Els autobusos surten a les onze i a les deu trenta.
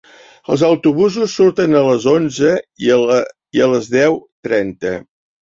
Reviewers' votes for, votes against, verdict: 0, 2, rejected